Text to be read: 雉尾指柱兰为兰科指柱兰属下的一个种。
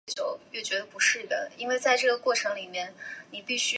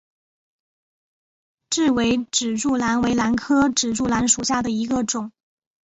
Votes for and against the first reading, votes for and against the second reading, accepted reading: 0, 2, 4, 1, second